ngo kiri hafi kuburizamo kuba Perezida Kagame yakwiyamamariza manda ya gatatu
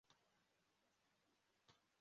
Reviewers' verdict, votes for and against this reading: rejected, 0, 2